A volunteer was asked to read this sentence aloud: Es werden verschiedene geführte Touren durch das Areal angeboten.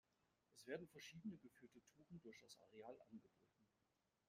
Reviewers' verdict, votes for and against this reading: rejected, 1, 2